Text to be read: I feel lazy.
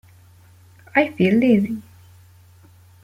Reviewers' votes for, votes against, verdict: 1, 2, rejected